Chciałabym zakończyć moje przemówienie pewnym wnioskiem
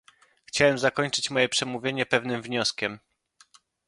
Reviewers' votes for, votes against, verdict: 1, 2, rejected